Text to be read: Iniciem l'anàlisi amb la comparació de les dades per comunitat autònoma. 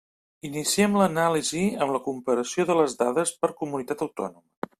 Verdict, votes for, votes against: rejected, 1, 2